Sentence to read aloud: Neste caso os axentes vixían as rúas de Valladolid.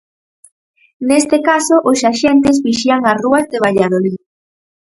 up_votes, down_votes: 4, 0